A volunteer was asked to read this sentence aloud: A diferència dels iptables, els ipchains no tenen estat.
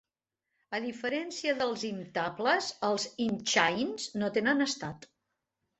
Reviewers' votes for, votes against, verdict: 3, 2, accepted